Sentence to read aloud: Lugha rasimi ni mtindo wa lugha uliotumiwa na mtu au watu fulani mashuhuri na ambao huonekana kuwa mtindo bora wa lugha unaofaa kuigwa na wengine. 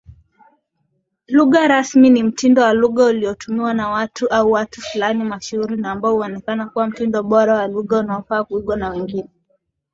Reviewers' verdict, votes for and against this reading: accepted, 2, 0